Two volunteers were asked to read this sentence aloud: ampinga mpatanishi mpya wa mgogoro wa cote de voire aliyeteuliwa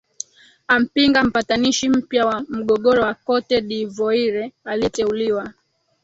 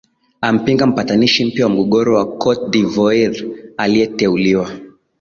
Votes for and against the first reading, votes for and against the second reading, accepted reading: 2, 4, 6, 0, second